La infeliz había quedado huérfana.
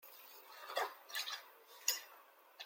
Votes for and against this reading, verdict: 0, 2, rejected